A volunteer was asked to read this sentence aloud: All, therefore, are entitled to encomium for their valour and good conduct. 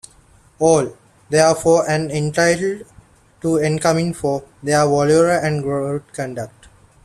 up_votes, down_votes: 0, 2